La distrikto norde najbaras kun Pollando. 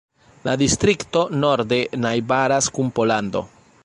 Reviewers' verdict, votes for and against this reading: accepted, 2, 0